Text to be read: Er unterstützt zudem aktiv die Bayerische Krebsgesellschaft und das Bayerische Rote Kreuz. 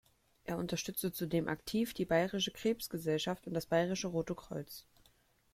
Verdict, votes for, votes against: rejected, 0, 2